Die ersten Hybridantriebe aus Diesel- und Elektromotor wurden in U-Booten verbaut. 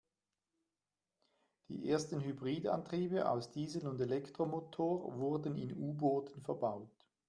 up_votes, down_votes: 2, 0